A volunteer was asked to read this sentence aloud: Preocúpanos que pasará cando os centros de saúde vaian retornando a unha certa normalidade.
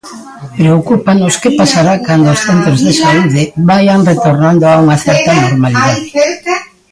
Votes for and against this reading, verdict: 0, 3, rejected